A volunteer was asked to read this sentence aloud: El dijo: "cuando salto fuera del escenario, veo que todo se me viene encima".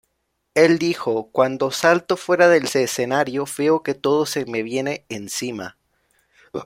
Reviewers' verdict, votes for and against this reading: rejected, 0, 2